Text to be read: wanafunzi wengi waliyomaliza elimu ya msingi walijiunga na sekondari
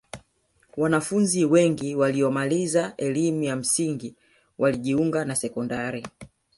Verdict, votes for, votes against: rejected, 1, 2